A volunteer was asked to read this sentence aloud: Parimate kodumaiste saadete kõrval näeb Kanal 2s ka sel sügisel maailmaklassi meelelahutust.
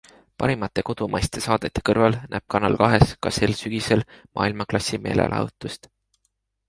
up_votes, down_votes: 0, 2